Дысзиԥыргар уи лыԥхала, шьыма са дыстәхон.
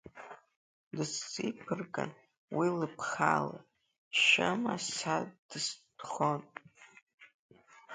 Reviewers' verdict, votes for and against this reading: accepted, 2, 1